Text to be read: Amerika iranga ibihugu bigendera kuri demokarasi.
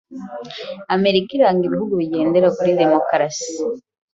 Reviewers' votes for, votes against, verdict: 2, 0, accepted